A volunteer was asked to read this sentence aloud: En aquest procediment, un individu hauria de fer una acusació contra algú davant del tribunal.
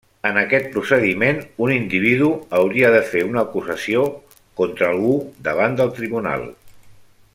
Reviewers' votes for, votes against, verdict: 3, 0, accepted